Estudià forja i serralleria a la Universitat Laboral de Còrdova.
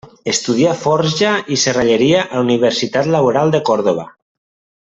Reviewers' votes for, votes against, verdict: 3, 0, accepted